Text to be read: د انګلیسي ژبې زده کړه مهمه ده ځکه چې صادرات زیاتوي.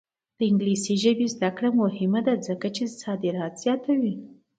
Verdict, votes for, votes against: accepted, 2, 0